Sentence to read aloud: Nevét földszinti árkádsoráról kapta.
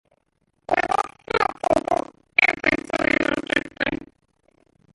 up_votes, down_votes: 0, 2